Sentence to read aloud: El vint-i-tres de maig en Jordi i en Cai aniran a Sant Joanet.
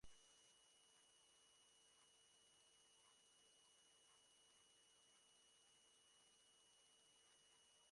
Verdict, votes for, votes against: rejected, 1, 2